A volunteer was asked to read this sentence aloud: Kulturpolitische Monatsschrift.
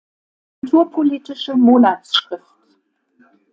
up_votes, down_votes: 1, 2